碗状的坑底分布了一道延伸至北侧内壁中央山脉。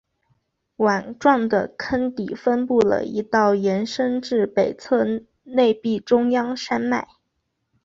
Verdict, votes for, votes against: accepted, 2, 0